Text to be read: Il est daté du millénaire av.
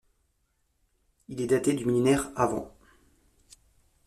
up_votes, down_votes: 1, 2